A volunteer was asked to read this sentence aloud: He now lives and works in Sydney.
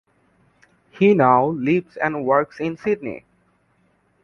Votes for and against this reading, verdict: 2, 0, accepted